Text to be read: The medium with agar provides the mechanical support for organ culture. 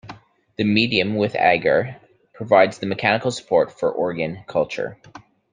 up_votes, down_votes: 2, 0